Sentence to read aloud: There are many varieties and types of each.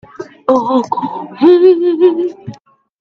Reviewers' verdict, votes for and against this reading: rejected, 0, 2